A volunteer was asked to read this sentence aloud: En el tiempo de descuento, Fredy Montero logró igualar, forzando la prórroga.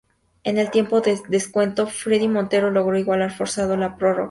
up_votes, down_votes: 0, 2